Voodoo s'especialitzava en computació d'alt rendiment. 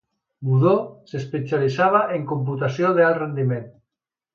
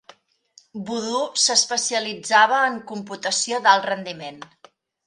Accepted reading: second